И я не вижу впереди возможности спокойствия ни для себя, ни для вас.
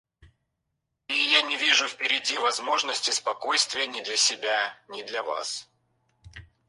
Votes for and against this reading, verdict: 0, 4, rejected